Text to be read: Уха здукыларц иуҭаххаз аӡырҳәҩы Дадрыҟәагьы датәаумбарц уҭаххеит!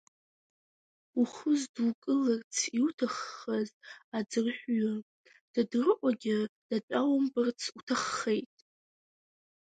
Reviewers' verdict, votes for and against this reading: rejected, 1, 2